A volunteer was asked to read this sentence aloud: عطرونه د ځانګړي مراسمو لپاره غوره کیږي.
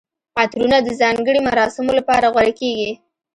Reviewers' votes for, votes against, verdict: 1, 2, rejected